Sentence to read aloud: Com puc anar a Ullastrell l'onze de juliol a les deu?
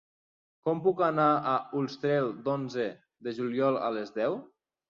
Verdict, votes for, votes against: rejected, 0, 2